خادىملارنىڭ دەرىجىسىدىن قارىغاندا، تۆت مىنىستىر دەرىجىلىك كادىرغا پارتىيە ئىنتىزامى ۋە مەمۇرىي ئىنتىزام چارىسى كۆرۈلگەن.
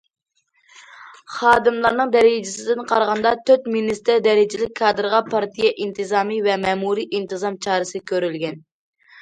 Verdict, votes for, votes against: accepted, 2, 0